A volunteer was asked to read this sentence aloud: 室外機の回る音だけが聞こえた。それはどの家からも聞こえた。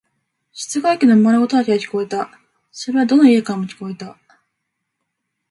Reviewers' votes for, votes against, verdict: 2, 0, accepted